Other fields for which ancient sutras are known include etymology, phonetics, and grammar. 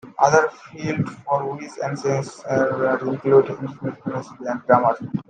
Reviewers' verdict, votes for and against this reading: rejected, 0, 2